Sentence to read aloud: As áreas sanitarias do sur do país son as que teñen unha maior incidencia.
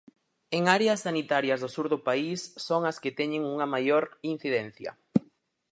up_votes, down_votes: 0, 4